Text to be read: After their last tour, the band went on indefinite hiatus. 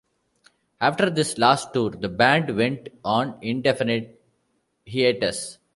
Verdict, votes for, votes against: rejected, 0, 2